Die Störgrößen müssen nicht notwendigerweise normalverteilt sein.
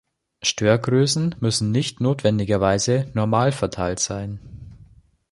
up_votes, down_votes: 2, 3